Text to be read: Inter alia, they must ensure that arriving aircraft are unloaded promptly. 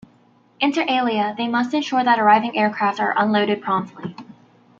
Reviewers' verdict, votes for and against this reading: rejected, 1, 2